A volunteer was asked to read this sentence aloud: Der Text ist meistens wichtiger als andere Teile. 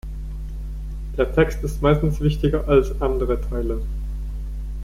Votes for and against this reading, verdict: 2, 0, accepted